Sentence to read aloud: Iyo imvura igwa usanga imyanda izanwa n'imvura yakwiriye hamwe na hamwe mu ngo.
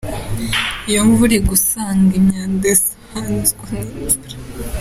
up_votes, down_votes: 0, 2